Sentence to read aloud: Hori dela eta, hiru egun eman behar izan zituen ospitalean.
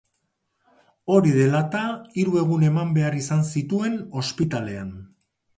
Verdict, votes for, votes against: rejected, 0, 2